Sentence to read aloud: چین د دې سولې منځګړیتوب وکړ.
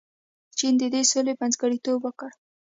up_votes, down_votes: 2, 0